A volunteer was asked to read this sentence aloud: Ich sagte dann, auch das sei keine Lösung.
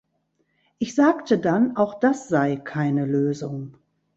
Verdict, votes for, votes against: accepted, 2, 0